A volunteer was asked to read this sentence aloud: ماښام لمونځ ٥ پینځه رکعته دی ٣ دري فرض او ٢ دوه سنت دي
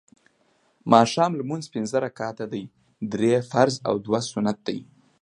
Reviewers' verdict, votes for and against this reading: rejected, 0, 2